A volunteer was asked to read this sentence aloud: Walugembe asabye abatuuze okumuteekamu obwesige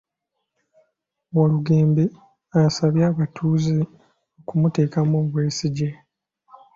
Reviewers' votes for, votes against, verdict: 2, 1, accepted